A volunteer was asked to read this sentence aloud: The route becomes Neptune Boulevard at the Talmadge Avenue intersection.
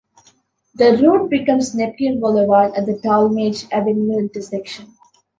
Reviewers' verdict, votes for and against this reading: accepted, 2, 0